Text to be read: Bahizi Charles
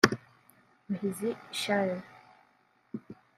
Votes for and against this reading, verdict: 1, 2, rejected